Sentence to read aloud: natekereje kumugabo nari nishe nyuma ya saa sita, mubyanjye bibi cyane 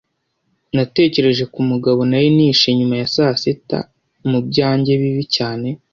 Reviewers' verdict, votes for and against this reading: accepted, 2, 0